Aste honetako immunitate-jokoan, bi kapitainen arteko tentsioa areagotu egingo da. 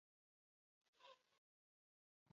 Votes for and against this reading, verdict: 2, 0, accepted